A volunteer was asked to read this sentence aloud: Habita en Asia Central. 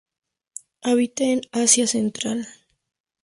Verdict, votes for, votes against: accepted, 2, 0